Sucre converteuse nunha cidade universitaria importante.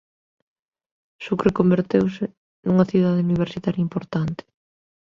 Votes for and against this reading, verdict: 3, 0, accepted